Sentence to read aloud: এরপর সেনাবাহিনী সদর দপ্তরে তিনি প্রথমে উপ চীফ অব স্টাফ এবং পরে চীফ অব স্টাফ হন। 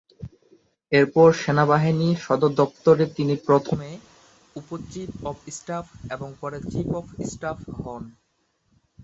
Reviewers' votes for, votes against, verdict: 1, 2, rejected